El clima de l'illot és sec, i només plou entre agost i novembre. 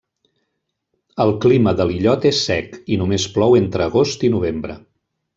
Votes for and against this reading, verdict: 3, 0, accepted